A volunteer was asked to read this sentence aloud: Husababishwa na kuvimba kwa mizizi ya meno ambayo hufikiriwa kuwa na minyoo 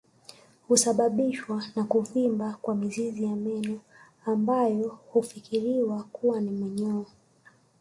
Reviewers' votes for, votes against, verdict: 2, 0, accepted